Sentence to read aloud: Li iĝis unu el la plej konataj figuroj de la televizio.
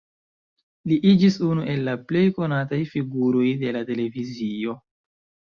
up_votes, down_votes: 2, 0